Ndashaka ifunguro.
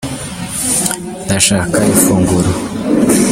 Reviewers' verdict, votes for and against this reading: rejected, 1, 2